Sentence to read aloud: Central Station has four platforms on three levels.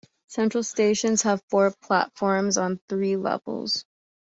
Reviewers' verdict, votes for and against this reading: rejected, 1, 2